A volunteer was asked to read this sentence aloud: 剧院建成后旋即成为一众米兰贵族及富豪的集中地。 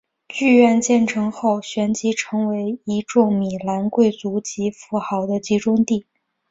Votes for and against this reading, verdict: 2, 1, accepted